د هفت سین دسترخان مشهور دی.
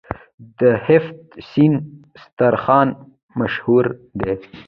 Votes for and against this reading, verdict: 2, 1, accepted